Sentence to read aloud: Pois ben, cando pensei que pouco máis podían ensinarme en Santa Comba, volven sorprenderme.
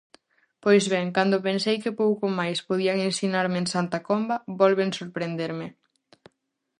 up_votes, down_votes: 4, 0